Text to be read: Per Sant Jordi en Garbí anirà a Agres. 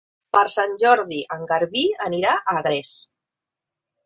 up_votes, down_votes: 0, 2